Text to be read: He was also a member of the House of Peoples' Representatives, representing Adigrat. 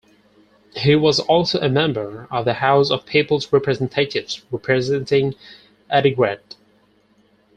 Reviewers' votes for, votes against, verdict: 4, 2, accepted